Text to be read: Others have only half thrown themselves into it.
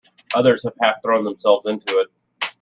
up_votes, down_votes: 0, 2